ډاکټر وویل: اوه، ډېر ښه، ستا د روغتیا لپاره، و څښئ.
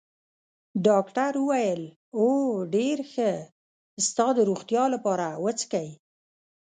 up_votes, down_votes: 0, 2